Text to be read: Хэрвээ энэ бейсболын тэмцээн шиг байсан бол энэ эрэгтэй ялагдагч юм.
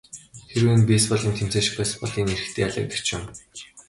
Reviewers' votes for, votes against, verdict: 1, 2, rejected